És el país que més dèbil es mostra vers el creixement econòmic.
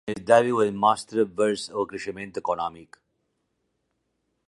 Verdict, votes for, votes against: rejected, 0, 2